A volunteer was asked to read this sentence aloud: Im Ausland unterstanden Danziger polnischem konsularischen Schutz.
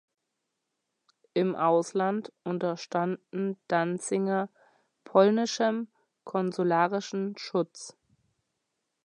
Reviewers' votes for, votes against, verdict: 0, 2, rejected